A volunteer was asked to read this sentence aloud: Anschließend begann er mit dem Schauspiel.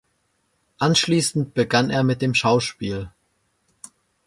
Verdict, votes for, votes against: accepted, 2, 0